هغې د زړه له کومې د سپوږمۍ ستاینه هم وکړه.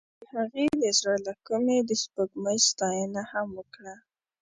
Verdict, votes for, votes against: accepted, 2, 0